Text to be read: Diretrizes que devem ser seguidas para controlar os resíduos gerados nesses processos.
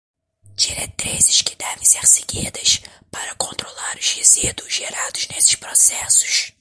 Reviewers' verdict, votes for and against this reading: rejected, 0, 2